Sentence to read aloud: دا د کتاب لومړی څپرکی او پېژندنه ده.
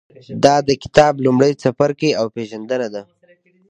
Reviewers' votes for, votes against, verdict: 2, 0, accepted